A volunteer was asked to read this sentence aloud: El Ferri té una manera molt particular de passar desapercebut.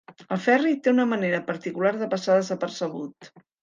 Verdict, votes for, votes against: rejected, 1, 2